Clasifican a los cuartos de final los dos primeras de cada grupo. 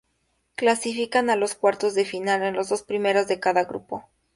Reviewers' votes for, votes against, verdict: 2, 0, accepted